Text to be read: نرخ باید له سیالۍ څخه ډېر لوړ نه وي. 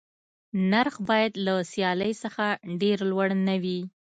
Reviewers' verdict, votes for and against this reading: accepted, 2, 0